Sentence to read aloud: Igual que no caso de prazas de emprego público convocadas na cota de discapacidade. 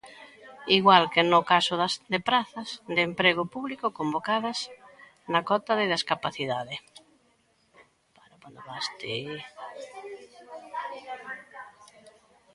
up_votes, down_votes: 0, 2